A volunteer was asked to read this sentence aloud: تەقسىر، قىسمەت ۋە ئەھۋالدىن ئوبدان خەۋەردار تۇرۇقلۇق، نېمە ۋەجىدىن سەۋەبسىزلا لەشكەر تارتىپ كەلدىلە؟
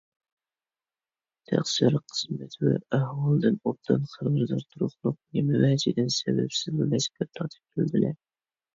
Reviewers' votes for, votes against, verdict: 0, 2, rejected